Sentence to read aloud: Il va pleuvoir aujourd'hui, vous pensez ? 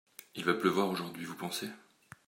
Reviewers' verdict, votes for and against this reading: accepted, 2, 0